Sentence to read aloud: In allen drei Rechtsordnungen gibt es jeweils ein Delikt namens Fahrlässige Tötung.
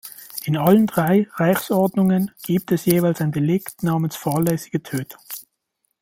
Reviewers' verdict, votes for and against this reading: rejected, 1, 2